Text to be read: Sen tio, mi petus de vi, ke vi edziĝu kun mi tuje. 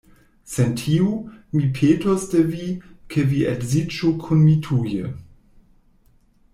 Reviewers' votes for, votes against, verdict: 1, 2, rejected